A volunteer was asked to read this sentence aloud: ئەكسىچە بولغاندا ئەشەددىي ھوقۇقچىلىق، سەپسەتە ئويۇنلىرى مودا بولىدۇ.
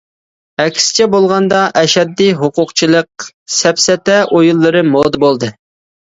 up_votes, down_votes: 0, 2